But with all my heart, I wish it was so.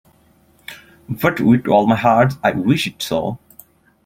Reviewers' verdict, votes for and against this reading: rejected, 1, 2